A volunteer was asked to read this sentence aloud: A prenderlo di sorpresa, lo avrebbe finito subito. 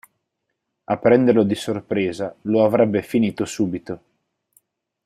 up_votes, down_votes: 4, 0